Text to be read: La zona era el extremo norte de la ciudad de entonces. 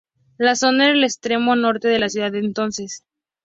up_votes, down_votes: 2, 0